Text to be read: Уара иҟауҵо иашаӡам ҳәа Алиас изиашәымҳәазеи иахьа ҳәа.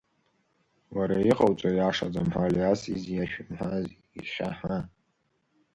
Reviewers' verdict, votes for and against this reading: rejected, 1, 2